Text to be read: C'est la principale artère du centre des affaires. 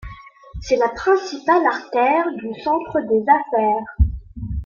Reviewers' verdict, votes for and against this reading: accepted, 2, 1